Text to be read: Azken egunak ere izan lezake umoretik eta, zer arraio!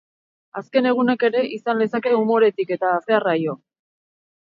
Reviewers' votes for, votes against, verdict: 4, 2, accepted